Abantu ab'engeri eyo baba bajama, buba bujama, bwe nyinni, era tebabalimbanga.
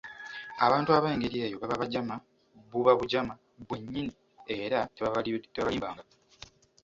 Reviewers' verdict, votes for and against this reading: rejected, 1, 2